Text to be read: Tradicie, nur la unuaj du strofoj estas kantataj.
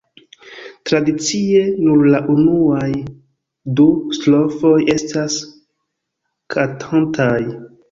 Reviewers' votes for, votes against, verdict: 0, 2, rejected